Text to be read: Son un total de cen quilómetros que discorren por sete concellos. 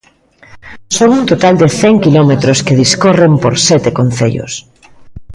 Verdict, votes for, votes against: accepted, 2, 0